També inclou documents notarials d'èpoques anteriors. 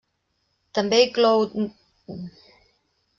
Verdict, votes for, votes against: rejected, 0, 2